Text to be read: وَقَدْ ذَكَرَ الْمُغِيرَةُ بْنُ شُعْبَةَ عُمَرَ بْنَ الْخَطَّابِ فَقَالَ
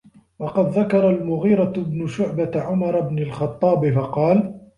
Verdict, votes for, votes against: accepted, 2, 0